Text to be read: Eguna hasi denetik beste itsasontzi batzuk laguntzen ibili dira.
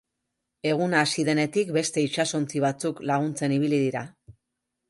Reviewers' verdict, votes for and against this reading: accepted, 3, 0